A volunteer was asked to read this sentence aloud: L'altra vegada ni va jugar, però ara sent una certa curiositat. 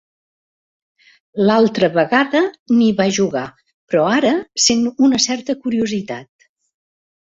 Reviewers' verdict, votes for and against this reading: accepted, 2, 0